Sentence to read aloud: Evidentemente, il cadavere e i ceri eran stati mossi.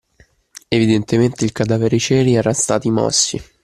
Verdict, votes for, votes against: accepted, 2, 0